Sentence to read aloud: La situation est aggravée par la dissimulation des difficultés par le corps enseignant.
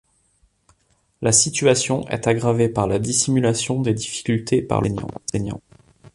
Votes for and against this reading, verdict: 0, 2, rejected